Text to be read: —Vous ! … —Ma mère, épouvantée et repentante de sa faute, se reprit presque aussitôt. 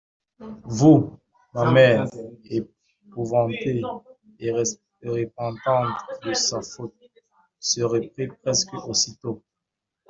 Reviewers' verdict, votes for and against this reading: rejected, 1, 2